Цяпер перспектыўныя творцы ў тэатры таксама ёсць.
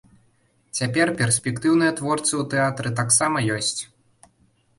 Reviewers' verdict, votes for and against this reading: accepted, 2, 0